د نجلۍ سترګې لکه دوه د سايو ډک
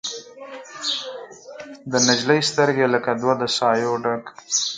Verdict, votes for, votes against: rejected, 2, 4